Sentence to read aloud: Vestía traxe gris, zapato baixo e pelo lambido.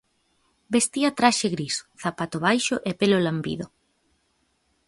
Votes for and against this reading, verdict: 2, 0, accepted